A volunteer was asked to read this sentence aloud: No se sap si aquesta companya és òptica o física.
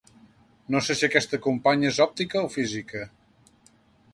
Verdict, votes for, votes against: rejected, 1, 2